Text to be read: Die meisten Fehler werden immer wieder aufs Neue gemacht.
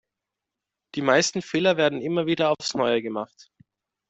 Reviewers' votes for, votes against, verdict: 2, 0, accepted